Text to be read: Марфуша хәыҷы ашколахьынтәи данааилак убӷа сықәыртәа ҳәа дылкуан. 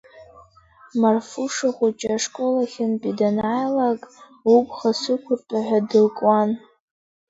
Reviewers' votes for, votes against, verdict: 3, 0, accepted